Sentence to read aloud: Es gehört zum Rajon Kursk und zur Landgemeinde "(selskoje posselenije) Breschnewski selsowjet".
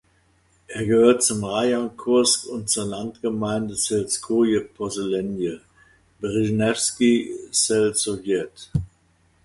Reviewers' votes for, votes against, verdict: 1, 2, rejected